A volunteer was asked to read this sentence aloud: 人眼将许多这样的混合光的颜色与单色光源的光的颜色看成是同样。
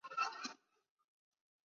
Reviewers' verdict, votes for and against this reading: rejected, 0, 5